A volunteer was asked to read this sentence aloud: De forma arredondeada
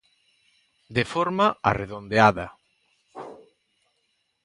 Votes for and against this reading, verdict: 2, 0, accepted